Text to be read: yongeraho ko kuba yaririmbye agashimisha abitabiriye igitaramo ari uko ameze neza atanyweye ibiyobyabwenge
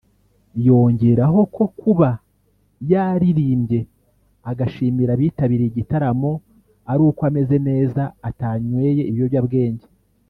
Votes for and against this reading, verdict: 0, 2, rejected